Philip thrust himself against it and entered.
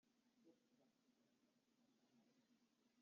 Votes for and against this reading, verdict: 0, 2, rejected